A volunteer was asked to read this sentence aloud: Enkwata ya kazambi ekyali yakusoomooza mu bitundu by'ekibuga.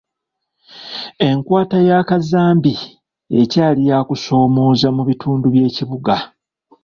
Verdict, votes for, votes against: accepted, 2, 0